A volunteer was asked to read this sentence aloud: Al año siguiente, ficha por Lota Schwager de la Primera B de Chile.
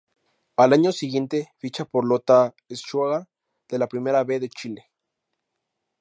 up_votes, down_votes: 2, 2